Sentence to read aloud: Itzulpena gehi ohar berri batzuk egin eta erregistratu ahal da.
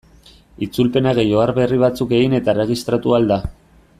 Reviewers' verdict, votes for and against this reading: accepted, 2, 0